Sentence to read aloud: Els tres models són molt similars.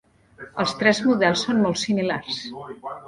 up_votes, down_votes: 1, 2